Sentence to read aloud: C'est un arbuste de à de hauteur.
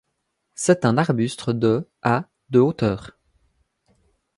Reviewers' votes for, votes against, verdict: 0, 2, rejected